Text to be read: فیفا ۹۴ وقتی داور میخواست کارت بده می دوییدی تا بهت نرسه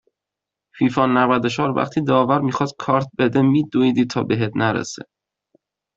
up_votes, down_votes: 0, 2